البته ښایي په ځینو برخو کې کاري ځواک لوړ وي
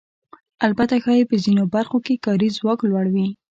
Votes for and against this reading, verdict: 2, 0, accepted